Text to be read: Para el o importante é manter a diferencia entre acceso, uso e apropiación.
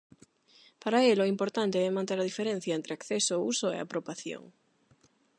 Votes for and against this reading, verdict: 0, 8, rejected